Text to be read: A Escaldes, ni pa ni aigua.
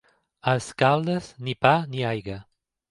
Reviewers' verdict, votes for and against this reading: rejected, 0, 2